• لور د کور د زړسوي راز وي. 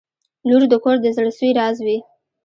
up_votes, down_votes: 1, 2